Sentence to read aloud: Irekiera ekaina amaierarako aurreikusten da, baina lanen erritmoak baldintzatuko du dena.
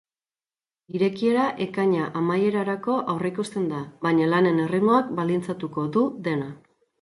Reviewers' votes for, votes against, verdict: 4, 0, accepted